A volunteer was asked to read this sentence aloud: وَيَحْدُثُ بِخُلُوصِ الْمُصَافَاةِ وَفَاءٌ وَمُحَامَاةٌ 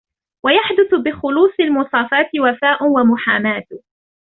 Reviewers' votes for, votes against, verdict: 2, 0, accepted